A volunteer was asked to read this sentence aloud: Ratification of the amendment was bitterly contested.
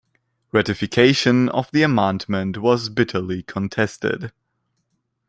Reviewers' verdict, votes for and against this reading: accepted, 2, 1